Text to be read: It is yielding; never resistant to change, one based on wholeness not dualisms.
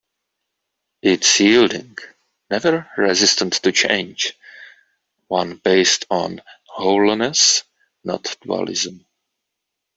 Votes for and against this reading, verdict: 0, 2, rejected